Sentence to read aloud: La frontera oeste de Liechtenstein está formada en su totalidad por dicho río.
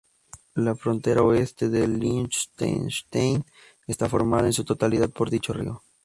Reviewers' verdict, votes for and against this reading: rejected, 0, 2